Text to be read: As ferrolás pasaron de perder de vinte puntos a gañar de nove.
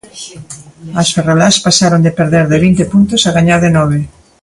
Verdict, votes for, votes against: rejected, 0, 2